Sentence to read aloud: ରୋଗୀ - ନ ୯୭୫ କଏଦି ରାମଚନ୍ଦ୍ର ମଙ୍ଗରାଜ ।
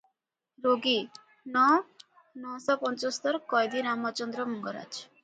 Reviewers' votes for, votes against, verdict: 0, 2, rejected